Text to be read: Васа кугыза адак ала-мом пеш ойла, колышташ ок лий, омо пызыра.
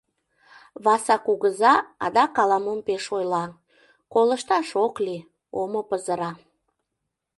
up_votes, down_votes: 2, 0